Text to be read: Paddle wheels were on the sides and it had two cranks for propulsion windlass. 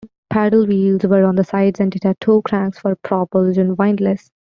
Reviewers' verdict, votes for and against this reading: rejected, 0, 2